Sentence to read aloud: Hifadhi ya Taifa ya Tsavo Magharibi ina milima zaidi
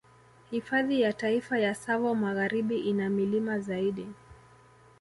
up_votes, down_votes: 2, 0